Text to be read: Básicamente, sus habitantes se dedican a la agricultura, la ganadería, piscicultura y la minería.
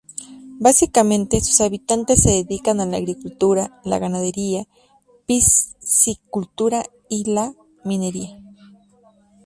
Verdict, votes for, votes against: accepted, 2, 0